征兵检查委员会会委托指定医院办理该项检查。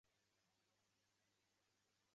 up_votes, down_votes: 0, 2